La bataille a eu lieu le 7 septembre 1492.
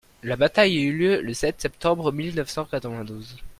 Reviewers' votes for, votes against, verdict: 0, 2, rejected